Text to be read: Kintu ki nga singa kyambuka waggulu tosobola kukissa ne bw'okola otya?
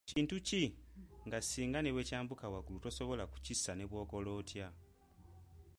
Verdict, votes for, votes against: accepted, 2, 1